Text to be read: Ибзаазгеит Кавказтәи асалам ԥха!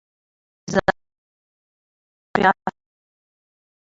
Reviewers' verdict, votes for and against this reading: rejected, 0, 2